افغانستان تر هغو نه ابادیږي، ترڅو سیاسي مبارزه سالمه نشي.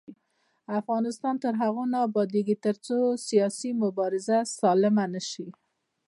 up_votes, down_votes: 1, 2